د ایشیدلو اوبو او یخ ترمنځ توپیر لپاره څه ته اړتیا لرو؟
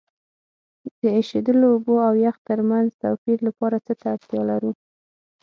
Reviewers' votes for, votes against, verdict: 9, 0, accepted